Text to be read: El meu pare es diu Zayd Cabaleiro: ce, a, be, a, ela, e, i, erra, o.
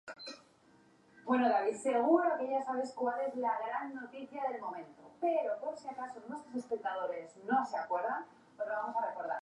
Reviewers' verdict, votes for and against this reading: rejected, 0, 3